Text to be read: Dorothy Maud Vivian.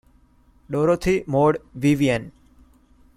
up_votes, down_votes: 2, 0